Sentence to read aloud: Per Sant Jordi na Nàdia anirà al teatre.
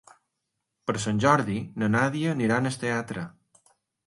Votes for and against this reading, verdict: 2, 3, rejected